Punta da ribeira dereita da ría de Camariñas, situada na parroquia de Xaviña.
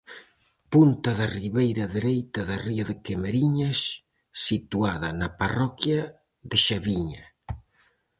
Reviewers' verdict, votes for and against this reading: accepted, 4, 0